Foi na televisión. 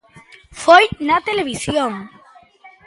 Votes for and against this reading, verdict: 3, 0, accepted